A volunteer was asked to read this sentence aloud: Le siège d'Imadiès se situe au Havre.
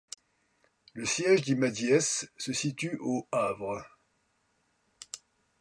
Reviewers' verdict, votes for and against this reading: accepted, 2, 0